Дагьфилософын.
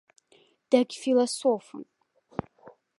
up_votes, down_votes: 0, 2